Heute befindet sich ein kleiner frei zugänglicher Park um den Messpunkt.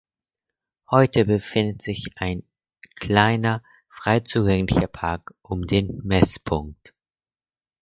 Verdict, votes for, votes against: accepted, 4, 0